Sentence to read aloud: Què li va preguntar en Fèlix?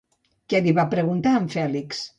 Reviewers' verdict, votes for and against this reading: accepted, 2, 0